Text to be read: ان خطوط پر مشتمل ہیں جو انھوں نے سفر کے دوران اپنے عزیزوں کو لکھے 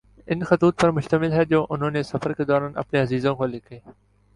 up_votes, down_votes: 2, 0